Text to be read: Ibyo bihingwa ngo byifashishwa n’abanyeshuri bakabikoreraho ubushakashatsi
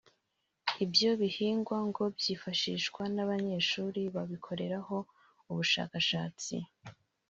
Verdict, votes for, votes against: accepted, 3, 0